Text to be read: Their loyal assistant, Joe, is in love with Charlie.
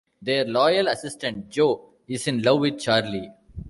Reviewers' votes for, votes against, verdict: 2, 0, accepted